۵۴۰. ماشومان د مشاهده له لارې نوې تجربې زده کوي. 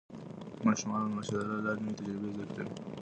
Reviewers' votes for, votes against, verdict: 0, 2, rejected